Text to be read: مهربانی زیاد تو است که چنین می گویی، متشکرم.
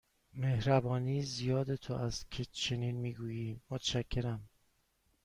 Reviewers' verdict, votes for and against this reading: accepted, 2, 0